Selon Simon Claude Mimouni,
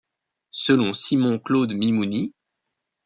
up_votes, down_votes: 2, 0